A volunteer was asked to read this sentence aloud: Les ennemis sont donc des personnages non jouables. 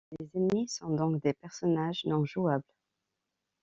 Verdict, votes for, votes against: accepted, 2, 1